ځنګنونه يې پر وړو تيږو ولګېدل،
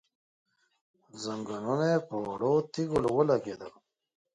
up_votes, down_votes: 0, 2